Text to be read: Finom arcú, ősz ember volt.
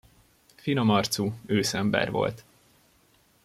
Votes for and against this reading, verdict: 2, 0, accepted